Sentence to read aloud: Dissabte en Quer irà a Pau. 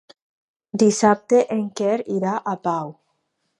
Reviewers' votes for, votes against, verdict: 2, 0, accepted